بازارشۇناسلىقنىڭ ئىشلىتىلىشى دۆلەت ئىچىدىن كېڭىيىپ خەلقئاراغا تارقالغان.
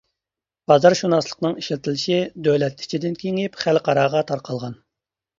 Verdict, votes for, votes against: accepted, 2, 0